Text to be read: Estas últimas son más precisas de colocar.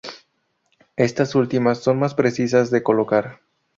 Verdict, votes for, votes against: accepted, 2, 0